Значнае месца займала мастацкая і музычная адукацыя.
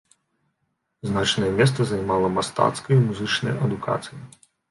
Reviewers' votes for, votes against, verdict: 1, 2, rejected